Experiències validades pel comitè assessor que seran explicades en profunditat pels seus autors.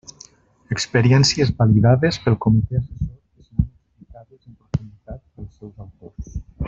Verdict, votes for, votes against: rejected, 0, 2